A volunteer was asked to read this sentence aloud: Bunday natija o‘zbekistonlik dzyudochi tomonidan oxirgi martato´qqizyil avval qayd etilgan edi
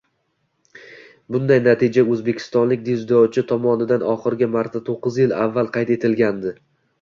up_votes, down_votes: 2, 0